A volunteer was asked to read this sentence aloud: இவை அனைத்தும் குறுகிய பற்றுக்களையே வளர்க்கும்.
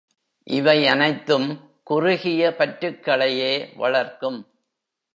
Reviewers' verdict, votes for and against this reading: rejected, 0, 2